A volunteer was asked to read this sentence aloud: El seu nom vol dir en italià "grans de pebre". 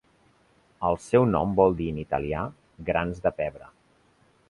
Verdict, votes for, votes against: accepted, 2, 0